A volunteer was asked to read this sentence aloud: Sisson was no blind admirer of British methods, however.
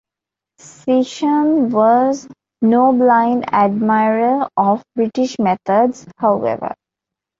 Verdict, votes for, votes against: accepted, 2, 0